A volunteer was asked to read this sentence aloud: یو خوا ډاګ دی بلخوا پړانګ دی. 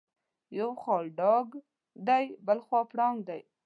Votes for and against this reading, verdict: 2, 0, accepted